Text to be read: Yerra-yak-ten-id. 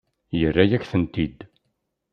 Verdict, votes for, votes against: accepted, 2, 0